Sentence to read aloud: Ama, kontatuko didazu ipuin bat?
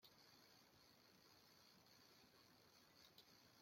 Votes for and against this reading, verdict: 0, 2, rejected